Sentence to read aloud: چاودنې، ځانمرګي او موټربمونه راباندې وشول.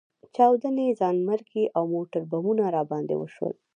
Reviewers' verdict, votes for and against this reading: accepted, 2, 0